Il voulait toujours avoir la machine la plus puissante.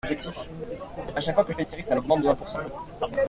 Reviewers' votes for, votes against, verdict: 0, 2, rejected